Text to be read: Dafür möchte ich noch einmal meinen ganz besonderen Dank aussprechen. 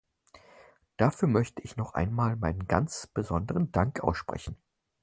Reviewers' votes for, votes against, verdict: 4, 0, accepted